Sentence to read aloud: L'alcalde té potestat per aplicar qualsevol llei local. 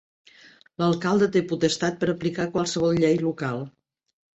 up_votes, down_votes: 4, 0